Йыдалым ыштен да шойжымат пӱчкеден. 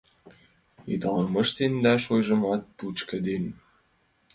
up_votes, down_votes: 1, 2